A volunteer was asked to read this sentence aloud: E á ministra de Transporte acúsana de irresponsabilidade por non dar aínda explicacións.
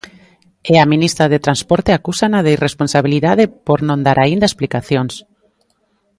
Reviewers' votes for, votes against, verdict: 2, 1, accepted